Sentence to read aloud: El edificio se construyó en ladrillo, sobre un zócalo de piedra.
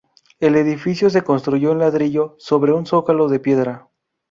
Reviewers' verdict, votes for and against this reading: accepted, 4, 0